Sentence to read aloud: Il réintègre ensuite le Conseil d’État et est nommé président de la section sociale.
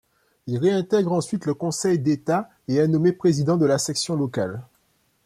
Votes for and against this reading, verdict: 1, 2, rejected